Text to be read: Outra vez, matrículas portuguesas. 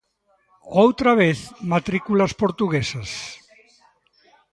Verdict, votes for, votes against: accepted, 2, 1